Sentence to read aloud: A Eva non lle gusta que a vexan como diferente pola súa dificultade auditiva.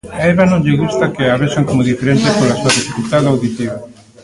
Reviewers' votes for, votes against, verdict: 1, 2, rejected